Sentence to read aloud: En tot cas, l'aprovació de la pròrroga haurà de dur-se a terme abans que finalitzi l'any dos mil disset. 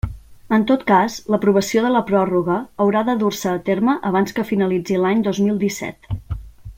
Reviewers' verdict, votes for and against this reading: accepted, 2, 0